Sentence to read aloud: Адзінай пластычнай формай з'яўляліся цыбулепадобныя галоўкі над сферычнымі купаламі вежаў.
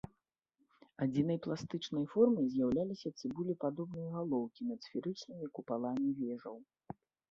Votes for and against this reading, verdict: 1, 2, rejected